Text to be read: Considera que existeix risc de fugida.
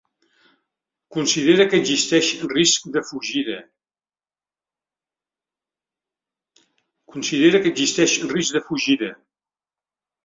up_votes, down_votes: 1, 2